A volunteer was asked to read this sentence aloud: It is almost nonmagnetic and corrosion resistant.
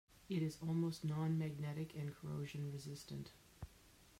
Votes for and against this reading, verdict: 0, 2, rejected